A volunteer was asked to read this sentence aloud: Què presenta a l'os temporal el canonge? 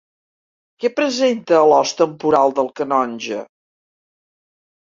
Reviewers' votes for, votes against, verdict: 2, 1, accepted